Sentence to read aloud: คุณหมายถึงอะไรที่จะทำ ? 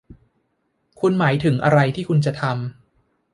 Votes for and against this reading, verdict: 0, 2, rejected